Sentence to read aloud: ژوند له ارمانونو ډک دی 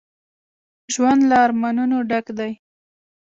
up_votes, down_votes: 2, 0